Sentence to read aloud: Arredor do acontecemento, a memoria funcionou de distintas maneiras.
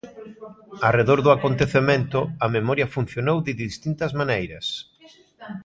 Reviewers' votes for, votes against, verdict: 2, 0, accepted